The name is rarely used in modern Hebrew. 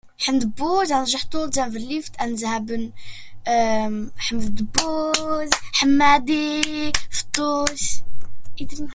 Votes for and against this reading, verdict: 0, 2, rejected